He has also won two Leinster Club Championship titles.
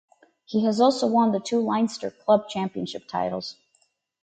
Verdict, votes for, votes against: rejected, 0, 2